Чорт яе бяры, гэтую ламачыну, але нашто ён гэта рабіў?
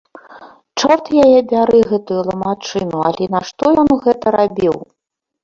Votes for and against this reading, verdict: 0, 2, rejected